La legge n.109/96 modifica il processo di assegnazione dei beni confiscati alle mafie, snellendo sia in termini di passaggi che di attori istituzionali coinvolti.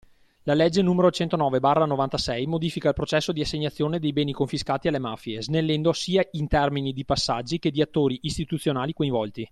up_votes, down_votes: 0, 2